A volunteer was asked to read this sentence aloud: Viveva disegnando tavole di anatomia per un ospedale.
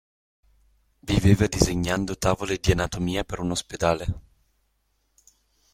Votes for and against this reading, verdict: 2, 0, accepted